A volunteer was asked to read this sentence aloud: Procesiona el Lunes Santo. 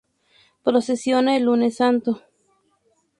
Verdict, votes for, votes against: rejected, 0, 2